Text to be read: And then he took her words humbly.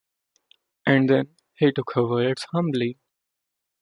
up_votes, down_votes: 2, 1